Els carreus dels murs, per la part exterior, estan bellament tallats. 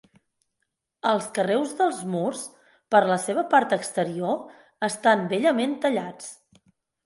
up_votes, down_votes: 2, 4